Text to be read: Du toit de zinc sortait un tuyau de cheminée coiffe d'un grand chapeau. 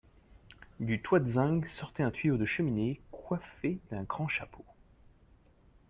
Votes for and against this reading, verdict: 2, 1, accepted